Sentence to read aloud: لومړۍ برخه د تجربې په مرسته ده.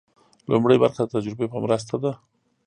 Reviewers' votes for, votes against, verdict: 2, 0, accepted